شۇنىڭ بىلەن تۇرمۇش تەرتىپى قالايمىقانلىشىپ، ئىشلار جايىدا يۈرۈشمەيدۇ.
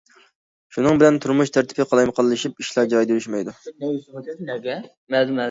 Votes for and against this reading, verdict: 1, 2, rejected